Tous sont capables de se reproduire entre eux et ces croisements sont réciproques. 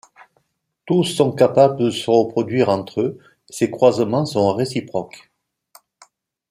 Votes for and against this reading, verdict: 2, 0, accepted